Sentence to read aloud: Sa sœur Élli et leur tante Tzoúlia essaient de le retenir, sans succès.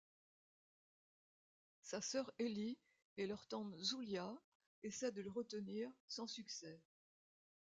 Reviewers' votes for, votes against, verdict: 1, 2, rejected